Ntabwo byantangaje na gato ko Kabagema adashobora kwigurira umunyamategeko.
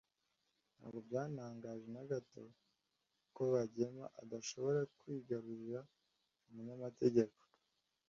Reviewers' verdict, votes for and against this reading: rejected, 1, 2